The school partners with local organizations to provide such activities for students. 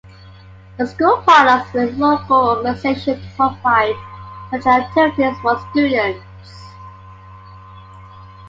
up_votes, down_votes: 2, 1